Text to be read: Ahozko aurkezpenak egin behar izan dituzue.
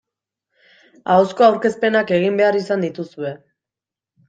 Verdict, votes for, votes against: accepted, 2, 0